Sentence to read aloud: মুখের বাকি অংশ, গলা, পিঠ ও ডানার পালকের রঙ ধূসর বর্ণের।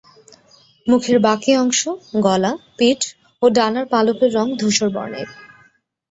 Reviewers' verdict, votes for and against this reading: accepted, 2, 0